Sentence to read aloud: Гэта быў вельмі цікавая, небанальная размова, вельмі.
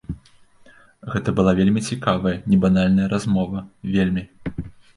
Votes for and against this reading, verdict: 0, 2, rejected